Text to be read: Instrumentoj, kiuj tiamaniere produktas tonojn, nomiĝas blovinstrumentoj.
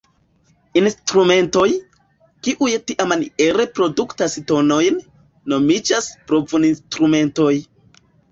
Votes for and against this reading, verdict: 1, 2, rejected